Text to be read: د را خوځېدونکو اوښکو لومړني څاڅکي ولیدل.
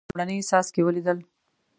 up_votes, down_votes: 2, 1